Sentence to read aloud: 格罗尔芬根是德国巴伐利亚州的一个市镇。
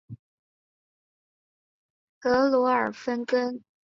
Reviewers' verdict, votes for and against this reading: rejected, 2, 3